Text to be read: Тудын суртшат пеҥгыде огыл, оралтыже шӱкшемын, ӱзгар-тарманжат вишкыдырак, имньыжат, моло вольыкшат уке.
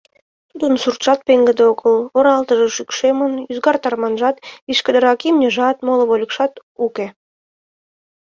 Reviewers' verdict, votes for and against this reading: accepted, 2, 0